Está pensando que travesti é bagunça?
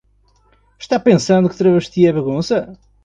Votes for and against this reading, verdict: 2, 0, accepted